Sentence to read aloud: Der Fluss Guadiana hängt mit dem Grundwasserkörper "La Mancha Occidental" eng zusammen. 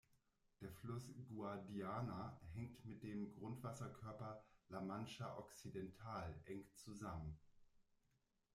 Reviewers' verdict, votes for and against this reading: rejected, 1, 2